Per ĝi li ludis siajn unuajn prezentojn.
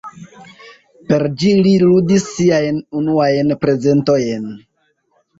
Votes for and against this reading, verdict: 0, 2, rejected